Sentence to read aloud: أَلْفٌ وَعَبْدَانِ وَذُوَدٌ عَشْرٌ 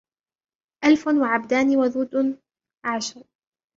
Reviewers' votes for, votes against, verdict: 2, 0, accepted